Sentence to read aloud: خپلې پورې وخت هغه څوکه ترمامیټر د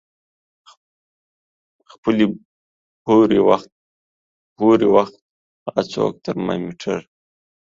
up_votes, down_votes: 0, 2